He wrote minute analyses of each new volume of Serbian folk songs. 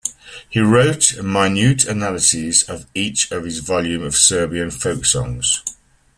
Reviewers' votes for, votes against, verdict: 1, 2, rejected